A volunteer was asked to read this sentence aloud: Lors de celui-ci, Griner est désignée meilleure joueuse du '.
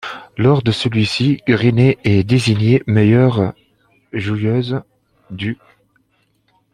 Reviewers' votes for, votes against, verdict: 0, 2, rejected